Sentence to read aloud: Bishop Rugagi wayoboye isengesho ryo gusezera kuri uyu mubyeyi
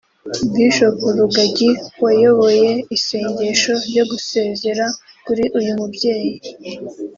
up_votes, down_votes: 1, 2